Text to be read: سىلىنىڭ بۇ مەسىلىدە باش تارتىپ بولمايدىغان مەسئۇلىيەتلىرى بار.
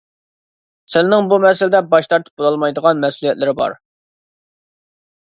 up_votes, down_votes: 0, 2